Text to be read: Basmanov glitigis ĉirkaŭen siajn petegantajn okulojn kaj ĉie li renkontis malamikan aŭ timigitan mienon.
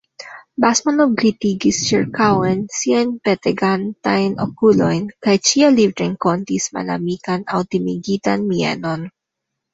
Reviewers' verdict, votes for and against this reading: rejected, 1, 2